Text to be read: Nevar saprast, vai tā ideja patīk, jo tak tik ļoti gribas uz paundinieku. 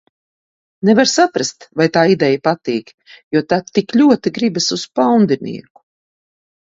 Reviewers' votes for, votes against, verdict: 2, 0, accepted